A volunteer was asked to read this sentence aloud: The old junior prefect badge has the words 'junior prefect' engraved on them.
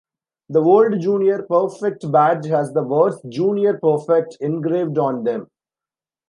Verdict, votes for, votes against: rejected, 1, 2